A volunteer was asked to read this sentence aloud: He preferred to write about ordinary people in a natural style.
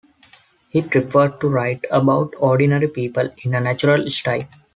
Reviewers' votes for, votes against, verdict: 2, 0, accepted